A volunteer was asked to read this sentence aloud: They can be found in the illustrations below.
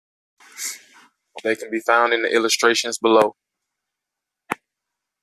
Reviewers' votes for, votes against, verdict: 2, 0, accepted